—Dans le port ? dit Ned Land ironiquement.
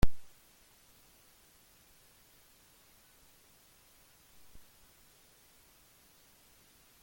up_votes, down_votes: 0, 2